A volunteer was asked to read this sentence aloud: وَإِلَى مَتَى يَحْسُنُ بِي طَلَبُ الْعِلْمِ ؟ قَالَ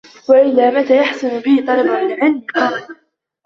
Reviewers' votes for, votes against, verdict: 0, 2, rejected